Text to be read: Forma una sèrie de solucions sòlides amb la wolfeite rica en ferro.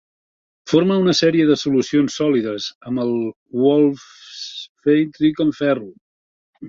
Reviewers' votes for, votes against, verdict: 1, 3, rejected